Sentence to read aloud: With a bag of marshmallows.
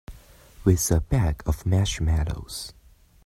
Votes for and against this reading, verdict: 0, 3, rejected